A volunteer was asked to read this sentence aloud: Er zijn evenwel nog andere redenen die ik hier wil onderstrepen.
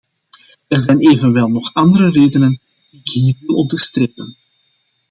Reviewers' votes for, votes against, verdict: 1, 2, rejected